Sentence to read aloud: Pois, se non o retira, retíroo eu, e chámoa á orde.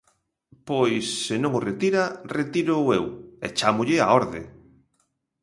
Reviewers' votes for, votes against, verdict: 0, 2, rejected